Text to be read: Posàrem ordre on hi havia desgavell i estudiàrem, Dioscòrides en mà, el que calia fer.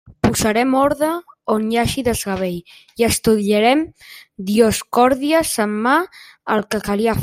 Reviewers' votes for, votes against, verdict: 1, 2, rejected